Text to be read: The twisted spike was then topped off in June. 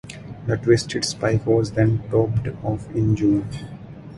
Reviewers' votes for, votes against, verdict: 2, 0, accepted